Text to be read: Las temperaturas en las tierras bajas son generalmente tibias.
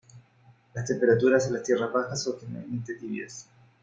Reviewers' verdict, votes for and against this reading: accepted, 2, 1